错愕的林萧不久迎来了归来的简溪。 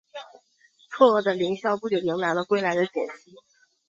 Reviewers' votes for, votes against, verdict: 4, 0, accepted